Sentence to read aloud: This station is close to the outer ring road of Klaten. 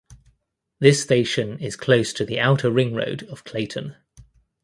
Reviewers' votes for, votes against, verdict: 2, 0, accepted